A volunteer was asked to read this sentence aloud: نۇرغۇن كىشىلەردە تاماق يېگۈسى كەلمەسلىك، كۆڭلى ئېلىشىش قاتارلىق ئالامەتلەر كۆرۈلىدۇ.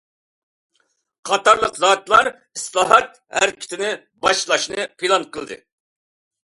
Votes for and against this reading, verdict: 0, 2, rejected